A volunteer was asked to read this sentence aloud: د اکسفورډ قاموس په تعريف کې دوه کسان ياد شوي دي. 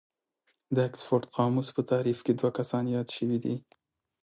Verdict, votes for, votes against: accepted, 2, 0